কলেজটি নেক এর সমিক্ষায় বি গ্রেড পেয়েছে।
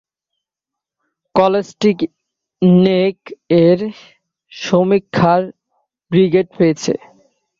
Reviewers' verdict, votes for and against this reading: rejected, 2, 2